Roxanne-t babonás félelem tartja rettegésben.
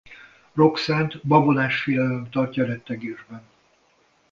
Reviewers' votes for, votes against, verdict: 2, 0, accepted